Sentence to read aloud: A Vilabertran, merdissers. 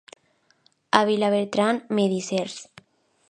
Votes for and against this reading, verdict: 1, 2, rejected